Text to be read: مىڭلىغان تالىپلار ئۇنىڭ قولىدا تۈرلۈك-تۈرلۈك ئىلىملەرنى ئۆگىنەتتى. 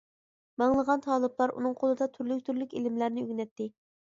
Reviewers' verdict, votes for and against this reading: accepted, 2, 0